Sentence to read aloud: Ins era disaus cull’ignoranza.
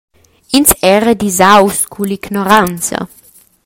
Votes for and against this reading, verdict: 2, 0, accepted